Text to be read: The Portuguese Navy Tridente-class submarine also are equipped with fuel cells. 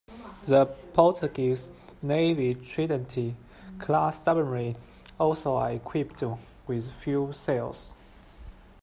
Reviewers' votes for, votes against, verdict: 1, 2, rejected